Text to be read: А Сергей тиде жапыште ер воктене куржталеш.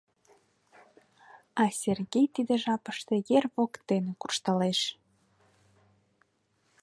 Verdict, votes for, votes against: accepted, 2, 0